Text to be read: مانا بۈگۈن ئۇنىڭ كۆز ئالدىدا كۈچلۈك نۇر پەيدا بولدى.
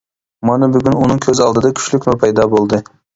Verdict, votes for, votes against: accepted, 2, 0